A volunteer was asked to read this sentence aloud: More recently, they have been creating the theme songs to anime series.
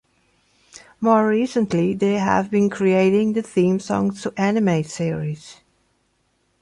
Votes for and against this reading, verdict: 2, 0, accepted